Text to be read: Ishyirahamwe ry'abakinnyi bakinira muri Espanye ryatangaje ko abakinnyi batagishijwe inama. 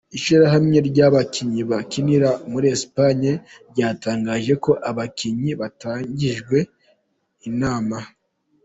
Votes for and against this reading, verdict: 0, 2, rejected